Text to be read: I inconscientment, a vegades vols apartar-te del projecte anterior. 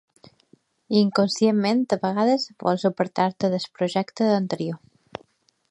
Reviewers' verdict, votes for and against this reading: rejected, 1, 2